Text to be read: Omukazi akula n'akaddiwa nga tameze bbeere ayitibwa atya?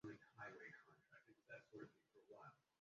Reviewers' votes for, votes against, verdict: 0, 2, rejected